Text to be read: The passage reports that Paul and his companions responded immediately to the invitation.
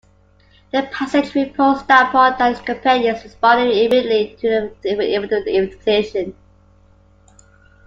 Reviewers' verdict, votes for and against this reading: rejected, 0, 2